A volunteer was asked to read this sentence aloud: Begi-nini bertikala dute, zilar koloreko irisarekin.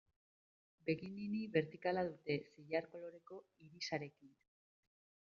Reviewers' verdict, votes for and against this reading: accepted, 2, 0